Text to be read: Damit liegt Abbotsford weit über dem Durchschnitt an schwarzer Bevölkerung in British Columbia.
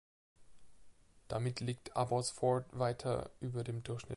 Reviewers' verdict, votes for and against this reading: rejected, 0, 2